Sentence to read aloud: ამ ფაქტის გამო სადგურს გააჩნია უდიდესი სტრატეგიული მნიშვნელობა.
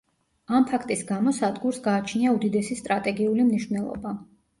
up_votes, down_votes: 2, 0